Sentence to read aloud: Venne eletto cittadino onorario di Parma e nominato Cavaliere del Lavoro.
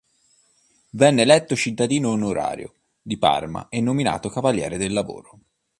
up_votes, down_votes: 3, 0